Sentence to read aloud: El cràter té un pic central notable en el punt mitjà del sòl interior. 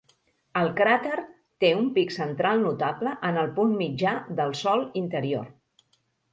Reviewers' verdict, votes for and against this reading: rejected, 1, 2